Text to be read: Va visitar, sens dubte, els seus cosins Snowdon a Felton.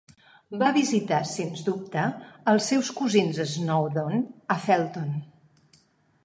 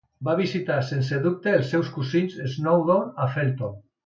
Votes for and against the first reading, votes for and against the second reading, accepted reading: 2, 0, 1, 2, first